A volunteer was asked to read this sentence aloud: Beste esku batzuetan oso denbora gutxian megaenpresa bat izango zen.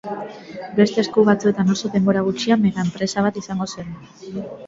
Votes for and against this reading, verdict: 2, 0, accepted